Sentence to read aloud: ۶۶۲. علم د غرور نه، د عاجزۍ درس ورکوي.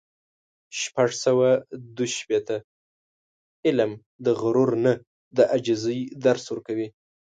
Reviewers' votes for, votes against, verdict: 0, 2, rejected